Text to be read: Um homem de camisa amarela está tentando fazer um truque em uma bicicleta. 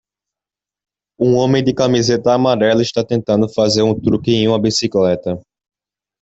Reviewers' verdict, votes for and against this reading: rejected, 0, 2